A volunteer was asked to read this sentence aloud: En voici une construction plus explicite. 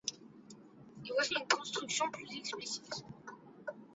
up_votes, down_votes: 1, 2